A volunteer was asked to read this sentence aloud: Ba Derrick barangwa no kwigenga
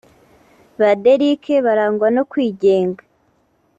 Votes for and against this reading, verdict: 2, 0, accepted